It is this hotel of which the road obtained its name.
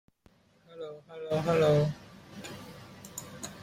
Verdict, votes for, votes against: rejected, 0, 2